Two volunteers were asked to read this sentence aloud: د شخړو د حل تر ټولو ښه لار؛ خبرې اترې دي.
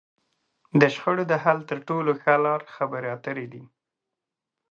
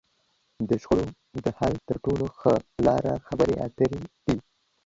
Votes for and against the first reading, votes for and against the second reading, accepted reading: 2, 0, 1, 2, first